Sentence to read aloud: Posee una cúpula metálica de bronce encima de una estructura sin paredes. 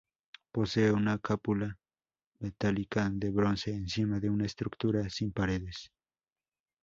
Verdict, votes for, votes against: accepted, 2, 0